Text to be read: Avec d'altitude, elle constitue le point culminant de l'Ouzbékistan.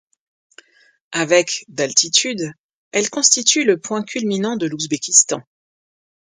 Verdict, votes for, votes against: accepted, 2, 0